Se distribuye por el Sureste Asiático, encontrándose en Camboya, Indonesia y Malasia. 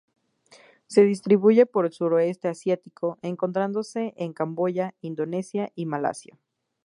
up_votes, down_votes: 2, 0